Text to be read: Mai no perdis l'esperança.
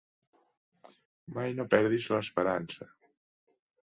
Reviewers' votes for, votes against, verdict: 2, 0, accepted